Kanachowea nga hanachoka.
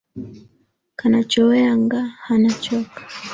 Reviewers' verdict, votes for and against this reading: accepted, 2, 0